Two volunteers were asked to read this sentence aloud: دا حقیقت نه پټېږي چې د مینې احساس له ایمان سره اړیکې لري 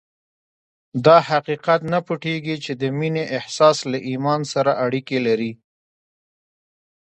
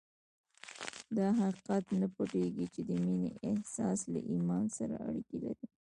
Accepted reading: second